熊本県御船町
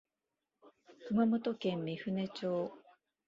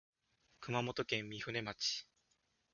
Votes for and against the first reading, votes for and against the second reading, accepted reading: 1, 2, 2, 0, second